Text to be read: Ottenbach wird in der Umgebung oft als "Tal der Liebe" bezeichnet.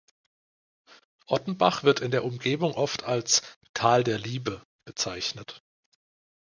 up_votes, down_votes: 2, 0